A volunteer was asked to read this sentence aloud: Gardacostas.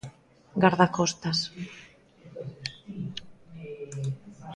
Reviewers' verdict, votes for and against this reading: accepted, 2, 0